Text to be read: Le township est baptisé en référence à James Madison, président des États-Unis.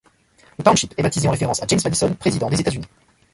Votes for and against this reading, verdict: 1, 2, rejected